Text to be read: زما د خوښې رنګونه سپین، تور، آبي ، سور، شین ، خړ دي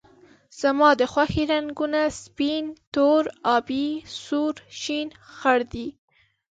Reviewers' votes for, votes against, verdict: 2, 0, accepted